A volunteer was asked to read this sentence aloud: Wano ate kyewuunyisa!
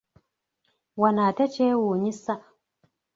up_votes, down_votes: 2, 0